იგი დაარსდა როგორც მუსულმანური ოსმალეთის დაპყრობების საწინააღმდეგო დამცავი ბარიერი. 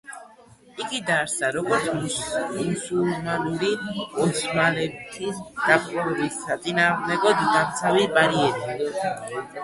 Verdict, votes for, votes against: rejected, 1, 2